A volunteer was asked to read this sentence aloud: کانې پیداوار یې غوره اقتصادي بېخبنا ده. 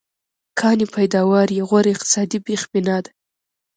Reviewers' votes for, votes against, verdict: 2, 0, accepted